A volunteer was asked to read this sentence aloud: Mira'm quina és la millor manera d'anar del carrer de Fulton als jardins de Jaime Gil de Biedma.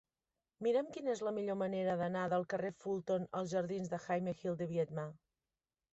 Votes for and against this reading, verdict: 1, 2, rejected